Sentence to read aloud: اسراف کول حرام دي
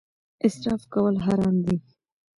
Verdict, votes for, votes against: accepted, 2, 0